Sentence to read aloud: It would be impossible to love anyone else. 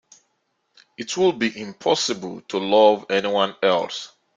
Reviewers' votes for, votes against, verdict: 1, 2, rejected